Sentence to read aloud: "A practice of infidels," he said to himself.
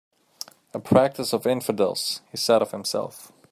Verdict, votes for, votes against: rejected, 1, 2